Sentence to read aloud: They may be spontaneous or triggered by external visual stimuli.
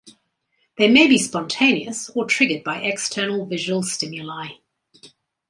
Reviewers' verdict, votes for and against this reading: accepted, 2, 0